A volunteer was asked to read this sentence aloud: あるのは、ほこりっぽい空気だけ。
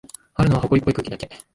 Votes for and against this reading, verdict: 2, 0, accepted